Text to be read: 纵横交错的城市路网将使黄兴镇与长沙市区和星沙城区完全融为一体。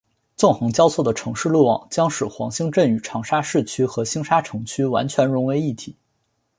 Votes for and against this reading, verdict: 4, 0, accepted